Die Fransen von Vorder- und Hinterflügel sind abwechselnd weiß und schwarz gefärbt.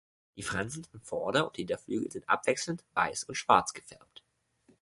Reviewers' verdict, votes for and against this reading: rejected, 1, 2